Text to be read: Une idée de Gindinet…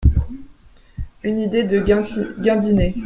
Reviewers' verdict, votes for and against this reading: rejected, 1, 2